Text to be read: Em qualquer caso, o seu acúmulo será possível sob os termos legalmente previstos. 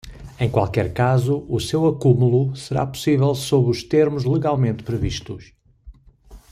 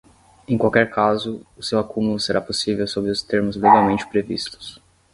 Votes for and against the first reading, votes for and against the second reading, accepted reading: 2, 0, 3, 3, first